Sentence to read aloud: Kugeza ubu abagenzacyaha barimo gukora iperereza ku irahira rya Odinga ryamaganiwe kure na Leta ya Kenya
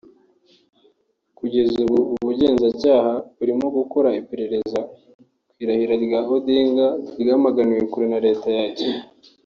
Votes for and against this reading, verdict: 0, 2, rejected